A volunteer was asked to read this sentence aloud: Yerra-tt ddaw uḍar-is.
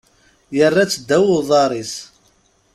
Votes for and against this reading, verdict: 2, 0, accepted